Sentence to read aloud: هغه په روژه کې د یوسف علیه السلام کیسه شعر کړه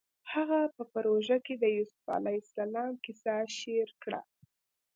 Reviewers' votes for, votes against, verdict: 2, 0, accepted